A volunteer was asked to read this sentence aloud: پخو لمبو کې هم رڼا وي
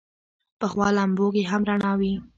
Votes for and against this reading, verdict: 1, 2, rejected